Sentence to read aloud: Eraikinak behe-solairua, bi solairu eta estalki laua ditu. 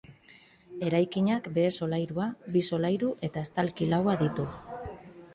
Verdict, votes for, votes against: accepted, 3, 0